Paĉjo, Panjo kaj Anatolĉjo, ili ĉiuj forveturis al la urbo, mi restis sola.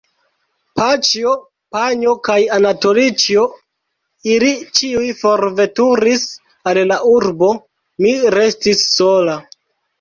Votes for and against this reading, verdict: 0, 2, rejected